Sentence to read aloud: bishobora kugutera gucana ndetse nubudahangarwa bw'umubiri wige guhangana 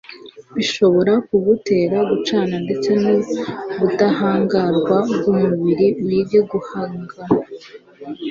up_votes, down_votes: 1, 2